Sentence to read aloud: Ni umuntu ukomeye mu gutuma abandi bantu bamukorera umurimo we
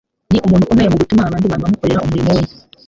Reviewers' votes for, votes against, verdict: 1, 2, rejected